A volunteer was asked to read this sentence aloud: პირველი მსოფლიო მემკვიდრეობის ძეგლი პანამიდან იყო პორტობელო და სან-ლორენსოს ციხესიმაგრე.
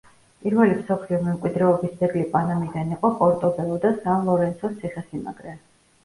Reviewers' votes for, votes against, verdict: 2, 0, accepted